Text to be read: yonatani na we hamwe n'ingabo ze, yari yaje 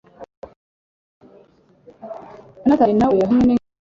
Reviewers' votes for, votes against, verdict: 0, 2, rejected